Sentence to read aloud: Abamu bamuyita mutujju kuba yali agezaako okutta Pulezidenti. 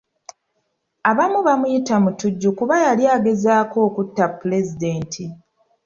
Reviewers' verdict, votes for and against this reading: accepted, 2, 0